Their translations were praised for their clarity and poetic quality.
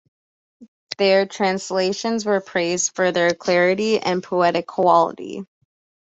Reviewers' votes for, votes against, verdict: 2, 0, accepted